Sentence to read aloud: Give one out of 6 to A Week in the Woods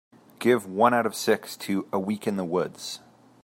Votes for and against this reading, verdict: 0, 2, rejected